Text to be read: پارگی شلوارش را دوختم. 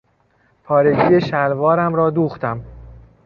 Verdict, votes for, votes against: rejected, 1, 2